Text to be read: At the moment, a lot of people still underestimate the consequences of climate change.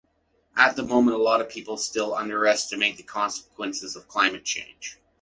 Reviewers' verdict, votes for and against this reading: accepted, 2, 0